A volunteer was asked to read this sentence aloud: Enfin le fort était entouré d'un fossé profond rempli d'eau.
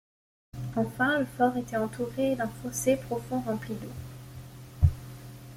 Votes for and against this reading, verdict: 2, 0, accepted